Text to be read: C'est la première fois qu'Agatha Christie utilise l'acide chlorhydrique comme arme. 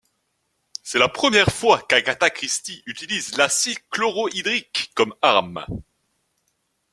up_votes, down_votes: 2, 1